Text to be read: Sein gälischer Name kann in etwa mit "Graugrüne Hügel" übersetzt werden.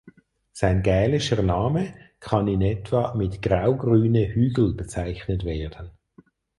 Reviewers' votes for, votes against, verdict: 0, 4, rejected